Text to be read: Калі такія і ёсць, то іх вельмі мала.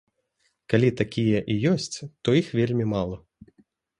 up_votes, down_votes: 2, 0